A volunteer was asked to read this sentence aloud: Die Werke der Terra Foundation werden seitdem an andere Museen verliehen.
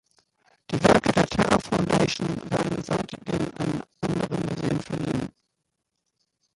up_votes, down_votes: 0, 2